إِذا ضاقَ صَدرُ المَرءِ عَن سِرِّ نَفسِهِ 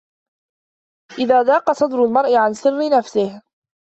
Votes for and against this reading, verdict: 2, 0, accepted